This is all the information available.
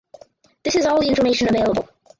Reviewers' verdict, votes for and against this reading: rejected, 0, 4